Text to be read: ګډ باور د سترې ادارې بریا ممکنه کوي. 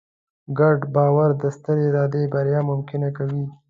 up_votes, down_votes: 1, 2